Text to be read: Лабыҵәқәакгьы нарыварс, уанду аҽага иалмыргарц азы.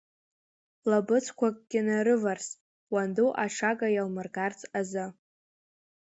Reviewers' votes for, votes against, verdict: 3, 0, accepted